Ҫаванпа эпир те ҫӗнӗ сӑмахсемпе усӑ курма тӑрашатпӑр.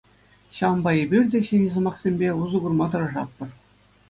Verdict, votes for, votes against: accepted, 2, 0